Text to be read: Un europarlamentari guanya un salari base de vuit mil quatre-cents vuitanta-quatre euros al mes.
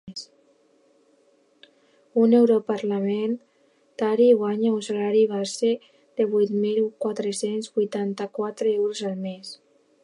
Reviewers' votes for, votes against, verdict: 2, 0, accepted